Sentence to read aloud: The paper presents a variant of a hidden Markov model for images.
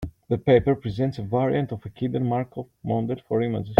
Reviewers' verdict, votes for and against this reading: rejected, 1, 2